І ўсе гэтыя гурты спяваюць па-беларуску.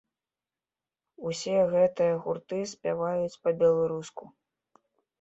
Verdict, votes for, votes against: rejected, 1, 2